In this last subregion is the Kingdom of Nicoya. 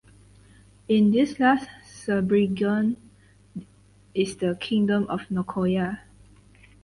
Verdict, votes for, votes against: rejected, 2, 4